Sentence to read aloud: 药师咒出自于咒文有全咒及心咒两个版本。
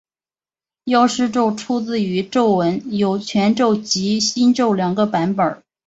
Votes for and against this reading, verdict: 2, 0, accepted